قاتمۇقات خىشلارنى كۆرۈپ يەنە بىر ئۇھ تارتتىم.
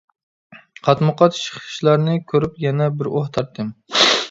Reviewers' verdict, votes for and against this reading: rejected, 0, 2